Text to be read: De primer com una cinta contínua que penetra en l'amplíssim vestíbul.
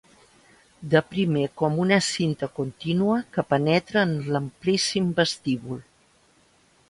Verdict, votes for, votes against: accepted, 3, 0